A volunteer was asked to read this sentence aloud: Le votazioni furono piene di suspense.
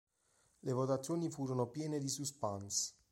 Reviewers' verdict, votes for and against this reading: rejected, 1, 2